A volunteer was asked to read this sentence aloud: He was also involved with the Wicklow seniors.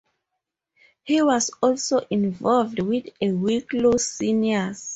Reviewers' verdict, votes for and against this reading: accepted, 4, 2